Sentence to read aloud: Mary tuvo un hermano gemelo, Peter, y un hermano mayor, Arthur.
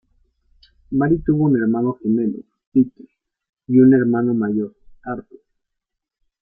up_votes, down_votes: 2, 0